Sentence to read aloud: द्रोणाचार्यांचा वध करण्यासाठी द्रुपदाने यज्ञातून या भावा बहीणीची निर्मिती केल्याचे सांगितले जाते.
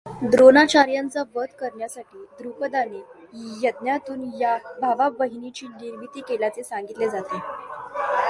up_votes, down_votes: 2, 0